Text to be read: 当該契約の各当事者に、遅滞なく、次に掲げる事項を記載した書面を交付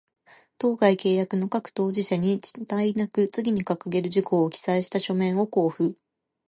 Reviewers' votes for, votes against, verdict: 2, 0, accepted